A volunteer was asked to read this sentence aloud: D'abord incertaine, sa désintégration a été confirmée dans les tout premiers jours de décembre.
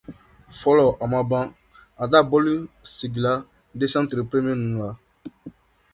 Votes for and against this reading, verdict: 0, 2, rejected